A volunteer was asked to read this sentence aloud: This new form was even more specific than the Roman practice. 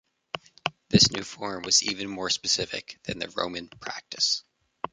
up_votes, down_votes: 2, 0